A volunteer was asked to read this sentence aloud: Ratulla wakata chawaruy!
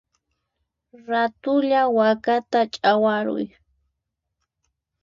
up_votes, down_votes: 4, 2